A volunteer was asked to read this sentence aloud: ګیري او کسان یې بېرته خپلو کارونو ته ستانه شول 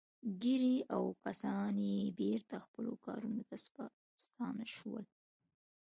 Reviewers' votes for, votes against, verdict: 2, 0, accepted